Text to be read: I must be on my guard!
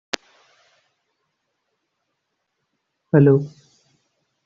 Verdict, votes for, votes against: rejected, 0, 2